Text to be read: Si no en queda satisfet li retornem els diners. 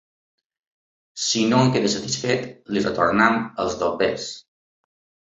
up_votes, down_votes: 2, 0